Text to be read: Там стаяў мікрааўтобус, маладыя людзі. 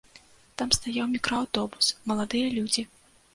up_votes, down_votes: 2, 0